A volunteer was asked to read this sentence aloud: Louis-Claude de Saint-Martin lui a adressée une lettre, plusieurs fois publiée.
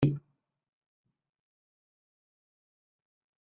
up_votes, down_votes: 1, 2